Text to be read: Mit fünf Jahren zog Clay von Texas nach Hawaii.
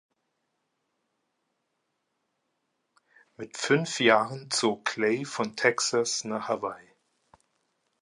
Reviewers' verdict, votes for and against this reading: accepted, 3, 0